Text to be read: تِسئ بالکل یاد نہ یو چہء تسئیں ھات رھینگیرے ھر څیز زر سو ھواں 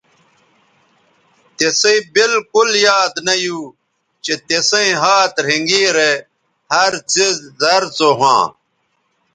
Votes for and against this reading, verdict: 2, 0, accepted